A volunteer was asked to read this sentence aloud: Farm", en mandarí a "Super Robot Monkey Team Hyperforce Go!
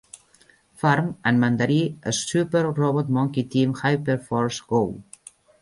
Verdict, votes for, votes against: accepted, 3, 1